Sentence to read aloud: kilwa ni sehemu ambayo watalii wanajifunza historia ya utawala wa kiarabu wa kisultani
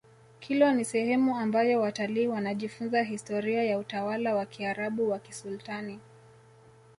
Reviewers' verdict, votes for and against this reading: accepted, 2, 0